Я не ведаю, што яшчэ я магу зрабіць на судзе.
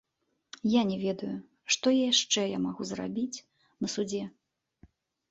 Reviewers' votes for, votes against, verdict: 2, 0, accepted